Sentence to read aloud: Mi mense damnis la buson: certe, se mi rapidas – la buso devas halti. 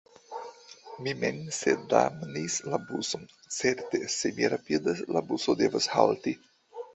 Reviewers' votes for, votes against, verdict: 0, 2, rejected